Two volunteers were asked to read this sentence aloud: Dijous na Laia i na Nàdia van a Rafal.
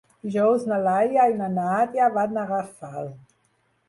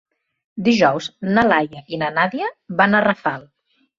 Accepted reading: second